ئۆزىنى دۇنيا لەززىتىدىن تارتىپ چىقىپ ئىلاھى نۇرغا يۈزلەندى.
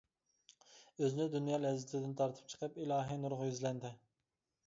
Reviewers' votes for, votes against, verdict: 2, 0, accepted